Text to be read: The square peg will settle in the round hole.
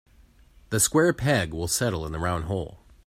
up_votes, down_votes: 2, 0